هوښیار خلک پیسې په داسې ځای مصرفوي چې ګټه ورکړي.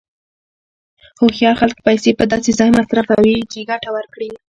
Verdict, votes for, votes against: accepted, 2, 0